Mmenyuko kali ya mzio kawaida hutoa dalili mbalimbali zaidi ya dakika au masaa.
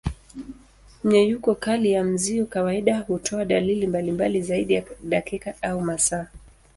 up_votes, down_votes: 2, 1